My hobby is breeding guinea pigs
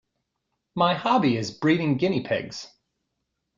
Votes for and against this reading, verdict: 2, 0, accepted